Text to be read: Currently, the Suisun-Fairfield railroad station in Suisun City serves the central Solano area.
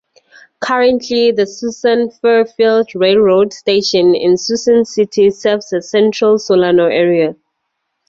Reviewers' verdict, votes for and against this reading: accepted, 4, 0